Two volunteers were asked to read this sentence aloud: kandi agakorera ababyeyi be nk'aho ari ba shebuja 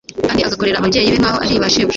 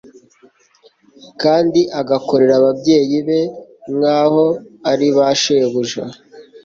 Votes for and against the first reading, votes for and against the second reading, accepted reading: 1, 2, 2, 0, second